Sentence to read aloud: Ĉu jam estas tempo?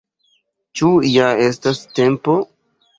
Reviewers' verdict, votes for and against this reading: rejected, 0, 2